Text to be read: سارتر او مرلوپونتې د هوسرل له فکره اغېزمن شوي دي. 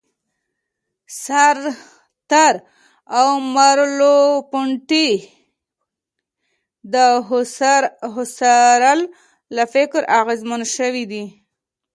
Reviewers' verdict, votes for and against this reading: rejected, 1, 2